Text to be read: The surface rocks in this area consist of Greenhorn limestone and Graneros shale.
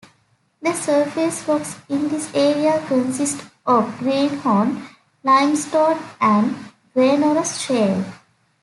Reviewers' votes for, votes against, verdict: 2, 0, accepted